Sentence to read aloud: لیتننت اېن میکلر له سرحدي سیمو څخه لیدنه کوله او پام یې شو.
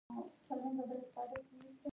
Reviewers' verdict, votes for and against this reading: rejected, 0, 2